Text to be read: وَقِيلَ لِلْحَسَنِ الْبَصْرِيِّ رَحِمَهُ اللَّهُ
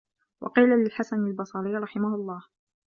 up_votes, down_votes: 2, 1